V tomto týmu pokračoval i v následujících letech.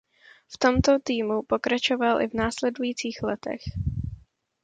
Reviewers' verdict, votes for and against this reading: accepted, 2, 0